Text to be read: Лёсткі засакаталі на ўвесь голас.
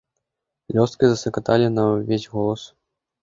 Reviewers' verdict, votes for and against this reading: accepted, 2, 0